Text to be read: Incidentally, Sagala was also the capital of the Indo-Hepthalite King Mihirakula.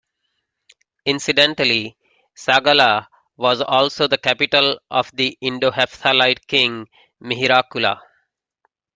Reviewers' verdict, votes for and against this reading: accepted, 2, 0